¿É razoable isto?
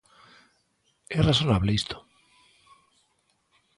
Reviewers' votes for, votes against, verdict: 0, 2, rejected